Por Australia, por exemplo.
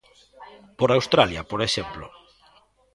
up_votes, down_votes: 1, 2